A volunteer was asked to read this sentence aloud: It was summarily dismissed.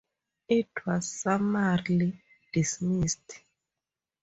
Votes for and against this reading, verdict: 2, 0, accepted